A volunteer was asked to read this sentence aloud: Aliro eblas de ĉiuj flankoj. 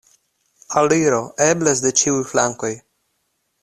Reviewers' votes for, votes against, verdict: 2, 0, accepted